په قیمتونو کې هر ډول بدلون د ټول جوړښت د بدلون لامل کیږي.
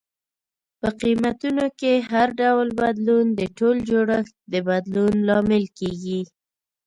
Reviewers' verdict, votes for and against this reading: accepted, 2, 0